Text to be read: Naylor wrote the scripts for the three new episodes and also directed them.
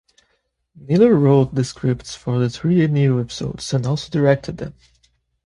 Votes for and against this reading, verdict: 2, 0, accepted